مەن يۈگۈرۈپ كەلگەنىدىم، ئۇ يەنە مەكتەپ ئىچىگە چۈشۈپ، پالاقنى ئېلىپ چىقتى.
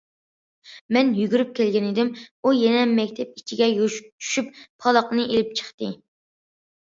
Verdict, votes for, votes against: accepted, 2, 1